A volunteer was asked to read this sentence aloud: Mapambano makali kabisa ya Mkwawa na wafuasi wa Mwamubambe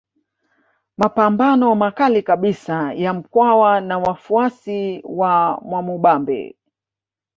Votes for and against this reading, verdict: 1, 2, rejected